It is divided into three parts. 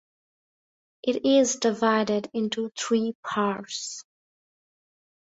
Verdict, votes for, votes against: rejected, 0, 2